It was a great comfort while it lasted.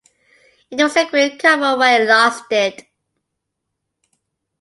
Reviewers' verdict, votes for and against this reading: rejected, 1, 2